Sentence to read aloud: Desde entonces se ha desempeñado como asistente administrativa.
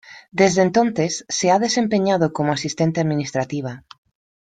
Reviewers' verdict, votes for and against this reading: accepted, 2, 0